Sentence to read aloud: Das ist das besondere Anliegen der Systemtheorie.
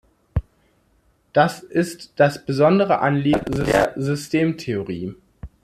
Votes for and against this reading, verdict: 0, 2, rejected